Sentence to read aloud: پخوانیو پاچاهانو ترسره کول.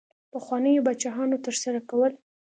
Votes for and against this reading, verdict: 2, 0, accepted